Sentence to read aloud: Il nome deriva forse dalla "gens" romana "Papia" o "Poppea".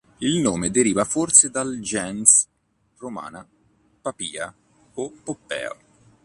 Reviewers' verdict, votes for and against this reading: rejected, 1, 3